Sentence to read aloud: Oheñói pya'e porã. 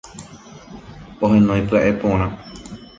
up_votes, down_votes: 1, 2